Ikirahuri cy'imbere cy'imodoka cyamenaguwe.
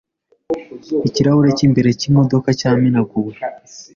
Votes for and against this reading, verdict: 3, 0, accepted